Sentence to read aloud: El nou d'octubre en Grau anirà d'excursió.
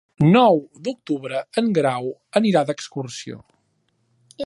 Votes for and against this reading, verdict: 2, 1, accepted